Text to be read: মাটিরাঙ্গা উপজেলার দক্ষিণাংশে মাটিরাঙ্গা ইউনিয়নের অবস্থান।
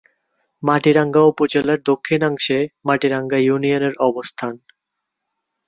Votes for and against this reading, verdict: 5, 0, accepted